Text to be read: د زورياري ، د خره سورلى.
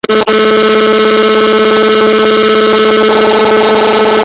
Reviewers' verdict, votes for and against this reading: rejected, 0, 2